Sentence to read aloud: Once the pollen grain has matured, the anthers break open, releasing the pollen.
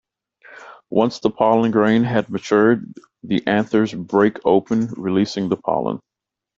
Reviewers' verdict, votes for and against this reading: rejected, 1, 2